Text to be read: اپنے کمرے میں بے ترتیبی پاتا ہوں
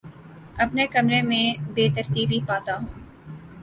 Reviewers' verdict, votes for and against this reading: accepted, 2, 0